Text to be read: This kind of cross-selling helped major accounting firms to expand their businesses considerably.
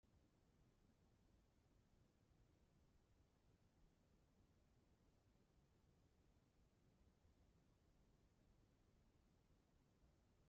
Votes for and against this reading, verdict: 0, 2, rejected